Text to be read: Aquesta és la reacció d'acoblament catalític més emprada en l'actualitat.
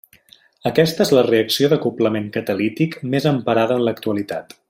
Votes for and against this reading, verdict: 0, 2, rejected